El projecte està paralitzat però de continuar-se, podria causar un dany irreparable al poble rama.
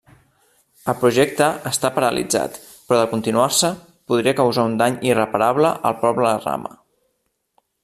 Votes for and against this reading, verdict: 0, 2, rejected